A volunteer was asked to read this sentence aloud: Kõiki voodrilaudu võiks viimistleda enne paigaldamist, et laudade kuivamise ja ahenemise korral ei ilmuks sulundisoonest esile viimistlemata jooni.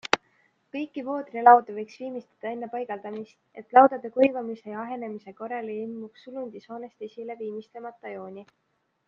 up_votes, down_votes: 2, 1